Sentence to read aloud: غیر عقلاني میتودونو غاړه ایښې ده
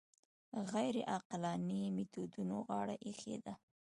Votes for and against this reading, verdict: 2, 0, accepted